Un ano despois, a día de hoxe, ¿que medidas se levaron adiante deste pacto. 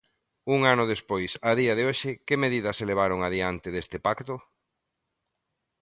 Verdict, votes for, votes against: accepted, 2, 0